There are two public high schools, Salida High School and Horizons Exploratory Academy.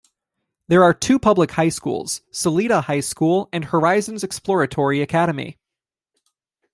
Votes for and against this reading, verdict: 2, 0, accepted